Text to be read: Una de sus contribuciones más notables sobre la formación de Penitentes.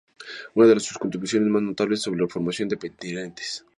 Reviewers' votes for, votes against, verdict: 0, 2, rejected